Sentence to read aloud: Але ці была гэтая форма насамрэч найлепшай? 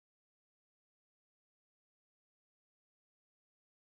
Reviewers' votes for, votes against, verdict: 0, 2, rejected